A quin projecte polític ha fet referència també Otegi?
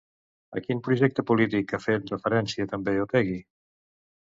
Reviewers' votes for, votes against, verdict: 2, 0, accepted